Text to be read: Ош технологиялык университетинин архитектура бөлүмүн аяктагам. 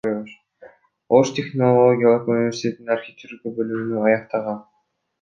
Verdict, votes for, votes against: rejected, 1, 2